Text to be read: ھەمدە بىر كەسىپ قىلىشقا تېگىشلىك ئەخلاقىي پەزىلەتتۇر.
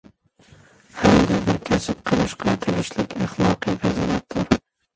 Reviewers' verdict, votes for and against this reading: rejected, 0, 2